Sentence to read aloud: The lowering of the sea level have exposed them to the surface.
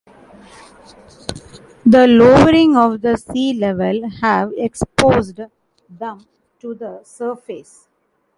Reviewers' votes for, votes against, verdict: 1, 2, rejected